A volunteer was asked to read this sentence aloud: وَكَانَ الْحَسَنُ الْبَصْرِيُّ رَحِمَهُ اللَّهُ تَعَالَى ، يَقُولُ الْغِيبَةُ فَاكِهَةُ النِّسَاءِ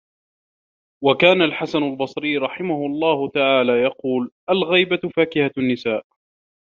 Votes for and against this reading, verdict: 2, 1, accepted